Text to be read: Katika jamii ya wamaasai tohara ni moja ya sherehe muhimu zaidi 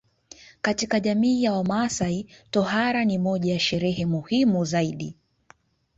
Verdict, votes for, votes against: accepted, 2, 1